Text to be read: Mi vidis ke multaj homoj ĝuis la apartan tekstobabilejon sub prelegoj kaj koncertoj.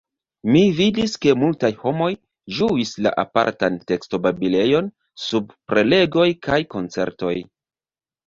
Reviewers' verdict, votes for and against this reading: rejected, 1, 2